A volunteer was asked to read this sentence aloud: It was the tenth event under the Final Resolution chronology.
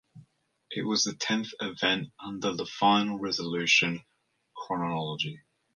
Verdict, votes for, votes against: rejected, 1, 2